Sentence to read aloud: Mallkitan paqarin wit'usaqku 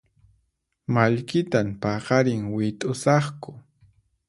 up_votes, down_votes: 4, 0